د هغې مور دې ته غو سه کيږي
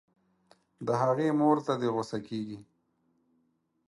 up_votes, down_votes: 0, 4